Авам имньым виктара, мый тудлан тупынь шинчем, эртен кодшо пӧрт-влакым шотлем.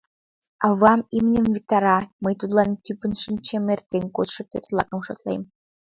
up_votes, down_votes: 0, 2